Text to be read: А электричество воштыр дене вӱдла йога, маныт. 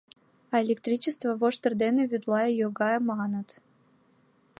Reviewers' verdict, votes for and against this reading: accepted, 2, 0